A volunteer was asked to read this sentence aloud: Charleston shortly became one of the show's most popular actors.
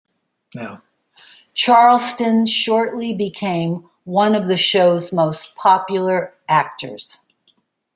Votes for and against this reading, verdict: 0, 2, rejected